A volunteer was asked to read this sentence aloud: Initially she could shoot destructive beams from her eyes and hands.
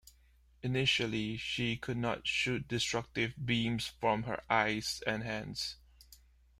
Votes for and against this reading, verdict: 1, 2, rejected